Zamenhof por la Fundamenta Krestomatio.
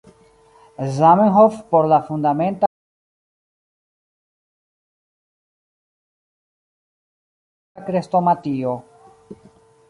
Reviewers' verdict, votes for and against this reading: rejected, 1, 2